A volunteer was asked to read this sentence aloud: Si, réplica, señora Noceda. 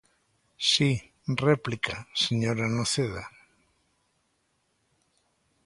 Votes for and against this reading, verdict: 2, 0, accepted